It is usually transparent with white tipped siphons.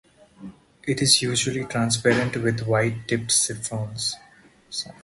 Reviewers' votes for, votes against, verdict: 0, 4, rejected